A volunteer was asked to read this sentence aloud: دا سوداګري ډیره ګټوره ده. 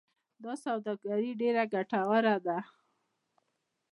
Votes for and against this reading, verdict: 0, 2, rejected